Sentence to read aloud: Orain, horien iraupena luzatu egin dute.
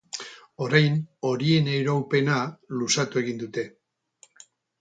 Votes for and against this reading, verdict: 4, 0, accepted